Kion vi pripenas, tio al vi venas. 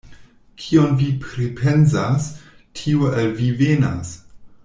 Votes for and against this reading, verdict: 1, 2, rejected